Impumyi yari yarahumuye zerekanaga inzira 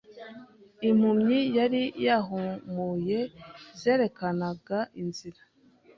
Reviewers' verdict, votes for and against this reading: rejected, 1, 2